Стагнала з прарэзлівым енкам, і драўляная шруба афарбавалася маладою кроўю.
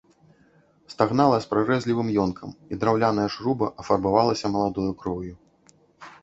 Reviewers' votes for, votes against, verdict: 0, 2, rejected